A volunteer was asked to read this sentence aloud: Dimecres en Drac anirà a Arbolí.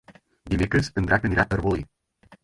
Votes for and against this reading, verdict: 0, 4, rejected